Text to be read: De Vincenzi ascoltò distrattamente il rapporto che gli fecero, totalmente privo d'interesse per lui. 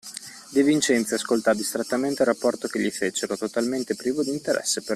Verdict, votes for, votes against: accepted, 2, 1